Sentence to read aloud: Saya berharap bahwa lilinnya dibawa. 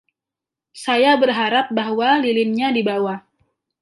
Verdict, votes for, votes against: rejected, 0, 2